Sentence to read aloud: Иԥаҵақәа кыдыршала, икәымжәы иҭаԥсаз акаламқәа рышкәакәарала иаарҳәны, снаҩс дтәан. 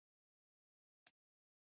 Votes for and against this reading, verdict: 0, 2, rejected